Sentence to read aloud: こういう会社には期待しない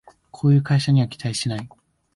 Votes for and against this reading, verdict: 2, 0, accepted